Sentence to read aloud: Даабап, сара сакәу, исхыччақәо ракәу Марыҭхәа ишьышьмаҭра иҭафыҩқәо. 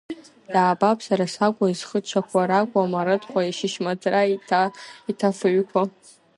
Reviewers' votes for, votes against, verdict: 1, 2, rejected